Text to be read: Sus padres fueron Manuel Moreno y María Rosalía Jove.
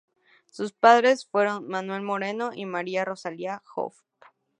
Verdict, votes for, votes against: accepted, 2, 0